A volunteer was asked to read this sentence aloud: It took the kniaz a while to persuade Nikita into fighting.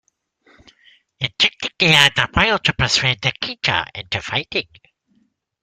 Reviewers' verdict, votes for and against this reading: rejected, 0, 2